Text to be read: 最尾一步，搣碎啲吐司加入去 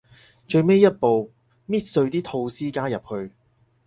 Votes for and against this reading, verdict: 4, 0, accepted